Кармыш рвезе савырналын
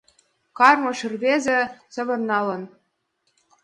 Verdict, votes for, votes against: accepted, 4, 1